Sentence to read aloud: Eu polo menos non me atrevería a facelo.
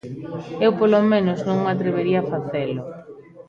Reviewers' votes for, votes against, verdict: 1, 2, rejected